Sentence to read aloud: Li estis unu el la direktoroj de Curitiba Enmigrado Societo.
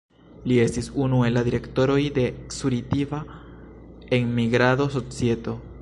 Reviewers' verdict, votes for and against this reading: rejected, 0, 2